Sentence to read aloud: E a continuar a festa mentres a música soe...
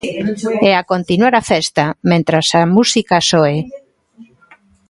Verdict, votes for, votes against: rejected, 1, 2